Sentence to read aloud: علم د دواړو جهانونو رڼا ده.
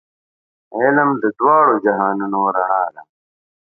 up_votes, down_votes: 2, 0